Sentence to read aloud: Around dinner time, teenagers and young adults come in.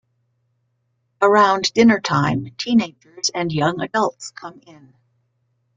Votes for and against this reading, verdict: 2, 1, accepted